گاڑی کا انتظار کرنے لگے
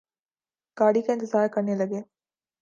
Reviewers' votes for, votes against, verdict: 3, 0, accepted